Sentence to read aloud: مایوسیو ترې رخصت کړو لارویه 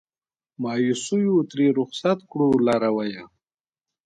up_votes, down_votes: 2, 0